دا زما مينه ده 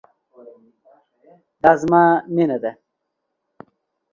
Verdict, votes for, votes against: accepted, 2, 0